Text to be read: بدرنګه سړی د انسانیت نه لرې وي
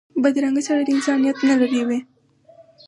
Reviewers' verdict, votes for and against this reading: accepted, 4, 0